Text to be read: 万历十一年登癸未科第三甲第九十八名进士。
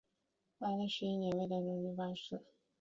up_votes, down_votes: 2, 0